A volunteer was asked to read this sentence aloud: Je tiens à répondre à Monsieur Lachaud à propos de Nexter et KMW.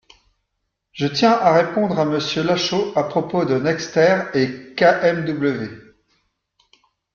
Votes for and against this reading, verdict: 2, 0, accepted